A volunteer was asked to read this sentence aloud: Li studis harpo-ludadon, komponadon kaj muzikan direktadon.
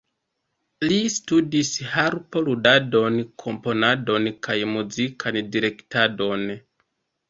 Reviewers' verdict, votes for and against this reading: accepted, 2, 0